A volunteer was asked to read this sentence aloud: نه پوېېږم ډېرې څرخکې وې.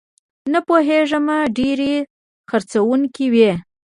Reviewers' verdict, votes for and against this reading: rejected, 0, 2